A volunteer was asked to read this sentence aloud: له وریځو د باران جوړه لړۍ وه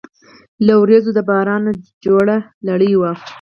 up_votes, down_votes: 6, 2